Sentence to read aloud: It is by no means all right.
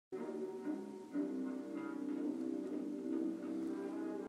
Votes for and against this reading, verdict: 0, 2, rejected